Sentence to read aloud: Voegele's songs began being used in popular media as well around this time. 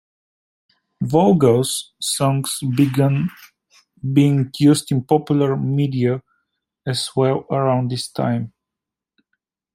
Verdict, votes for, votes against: accepted, 2, 0